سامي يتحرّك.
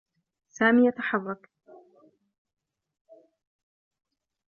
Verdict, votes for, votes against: accepted, 2, 0